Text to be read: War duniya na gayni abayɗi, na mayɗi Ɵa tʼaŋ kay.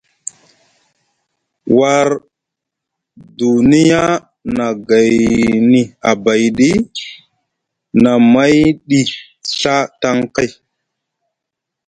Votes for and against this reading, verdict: 2, 0, accepted